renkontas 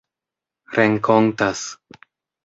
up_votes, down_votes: 3, 0